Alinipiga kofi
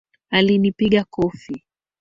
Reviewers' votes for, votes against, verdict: 0, 2, rejected